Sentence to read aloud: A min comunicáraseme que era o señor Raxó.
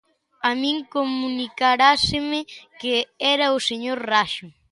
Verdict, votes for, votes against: rejected, 0, 2